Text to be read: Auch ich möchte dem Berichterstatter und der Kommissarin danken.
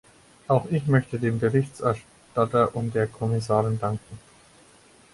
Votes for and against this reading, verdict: 4, 6, rejected